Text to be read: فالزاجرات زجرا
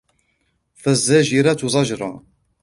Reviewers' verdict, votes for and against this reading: rejected, 0, 2